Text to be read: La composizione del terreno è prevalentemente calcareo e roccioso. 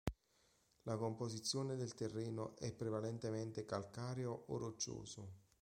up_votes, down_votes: 0, 2